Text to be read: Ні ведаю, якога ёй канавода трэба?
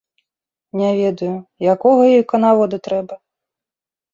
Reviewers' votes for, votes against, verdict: 1, 2, rejected